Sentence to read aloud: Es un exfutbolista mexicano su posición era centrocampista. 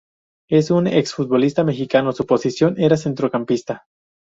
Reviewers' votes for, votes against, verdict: 0, 2, rejected